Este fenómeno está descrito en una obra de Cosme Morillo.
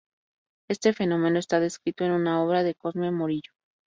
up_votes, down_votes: 2, 0